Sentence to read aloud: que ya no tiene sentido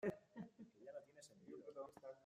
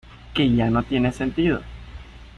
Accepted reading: second